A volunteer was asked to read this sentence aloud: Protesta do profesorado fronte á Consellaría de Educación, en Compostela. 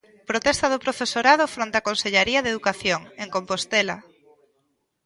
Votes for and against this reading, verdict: 0, 2, rejected